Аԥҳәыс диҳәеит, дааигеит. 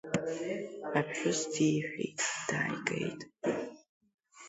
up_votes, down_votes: 1, 2